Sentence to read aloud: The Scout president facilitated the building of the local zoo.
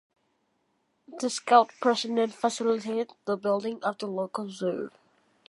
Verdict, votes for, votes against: accepted, 2, 1